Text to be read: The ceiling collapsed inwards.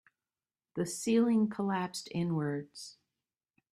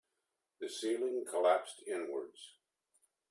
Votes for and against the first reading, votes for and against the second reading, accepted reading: 2, 0, 1, 2, first